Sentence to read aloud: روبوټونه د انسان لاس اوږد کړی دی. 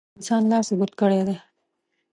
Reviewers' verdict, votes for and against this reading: rejected, 0, 2